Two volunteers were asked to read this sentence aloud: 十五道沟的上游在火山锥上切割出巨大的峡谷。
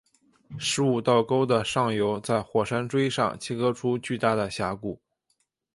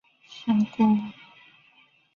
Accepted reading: first